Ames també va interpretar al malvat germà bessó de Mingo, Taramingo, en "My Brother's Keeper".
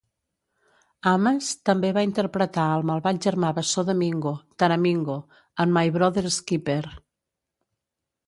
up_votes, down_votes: 1, 2